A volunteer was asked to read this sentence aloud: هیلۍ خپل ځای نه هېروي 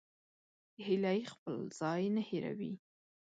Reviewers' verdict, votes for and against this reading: rejected, 1, 2